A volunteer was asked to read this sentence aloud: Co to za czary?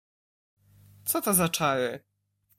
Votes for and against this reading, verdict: 1, 2, rejected